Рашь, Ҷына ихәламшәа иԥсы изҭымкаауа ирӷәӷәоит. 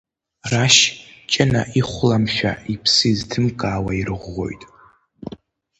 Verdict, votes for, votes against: accepted, 2, 0